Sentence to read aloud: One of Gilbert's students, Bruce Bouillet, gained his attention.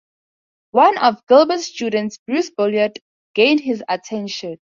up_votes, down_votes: 2, 0